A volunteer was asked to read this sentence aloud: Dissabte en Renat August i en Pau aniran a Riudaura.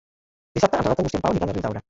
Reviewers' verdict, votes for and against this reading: rejected, 0, 2